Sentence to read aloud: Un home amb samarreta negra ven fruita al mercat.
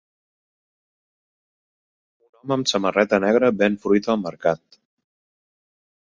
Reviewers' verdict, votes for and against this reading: rejected, 0, 2